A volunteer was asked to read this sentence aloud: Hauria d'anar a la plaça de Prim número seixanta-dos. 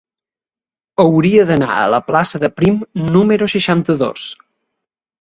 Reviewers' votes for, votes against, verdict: 2, 0, accepted